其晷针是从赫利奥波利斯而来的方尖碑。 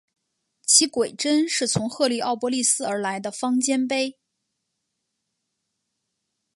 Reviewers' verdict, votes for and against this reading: rejected, 1, 2